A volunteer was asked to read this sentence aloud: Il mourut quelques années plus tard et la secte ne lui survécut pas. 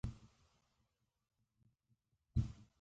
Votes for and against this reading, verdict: 0, 2, rejected